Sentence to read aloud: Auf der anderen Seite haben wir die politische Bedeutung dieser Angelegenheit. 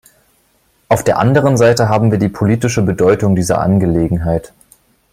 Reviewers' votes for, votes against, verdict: 3, 0, accepted